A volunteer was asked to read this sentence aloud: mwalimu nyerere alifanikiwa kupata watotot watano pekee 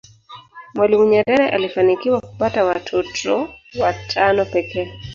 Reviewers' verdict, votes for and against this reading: accepted, 2, 0